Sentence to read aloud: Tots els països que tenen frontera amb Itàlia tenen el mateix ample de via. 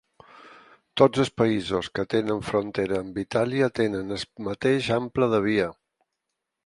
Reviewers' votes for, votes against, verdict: 2, 4, rejected